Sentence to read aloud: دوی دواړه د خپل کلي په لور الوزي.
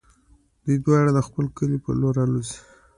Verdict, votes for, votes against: accepted, 2, 0